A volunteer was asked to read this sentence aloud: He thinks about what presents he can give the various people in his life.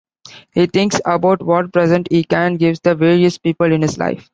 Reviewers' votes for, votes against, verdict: 2, 1, accepted